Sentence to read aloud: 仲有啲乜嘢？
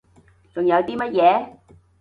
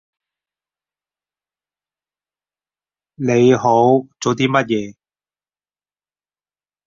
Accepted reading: first